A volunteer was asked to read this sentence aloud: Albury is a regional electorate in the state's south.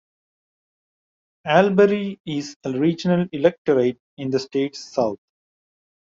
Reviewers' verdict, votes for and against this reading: accepted, 2, 0